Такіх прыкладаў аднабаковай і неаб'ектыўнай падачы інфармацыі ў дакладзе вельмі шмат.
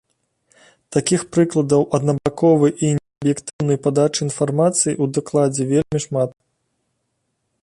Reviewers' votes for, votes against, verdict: 1, 2, rejected